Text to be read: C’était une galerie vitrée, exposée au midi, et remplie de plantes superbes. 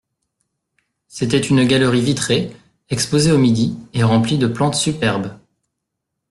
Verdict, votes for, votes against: accepted, 2, 0